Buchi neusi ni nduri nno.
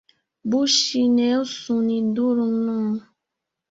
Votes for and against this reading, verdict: 1, 2, rejected